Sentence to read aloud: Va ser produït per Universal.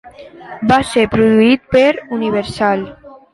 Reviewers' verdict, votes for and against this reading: rejected, 2, 3